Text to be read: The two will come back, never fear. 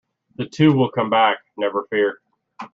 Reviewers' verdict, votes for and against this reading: accepted, 2, 0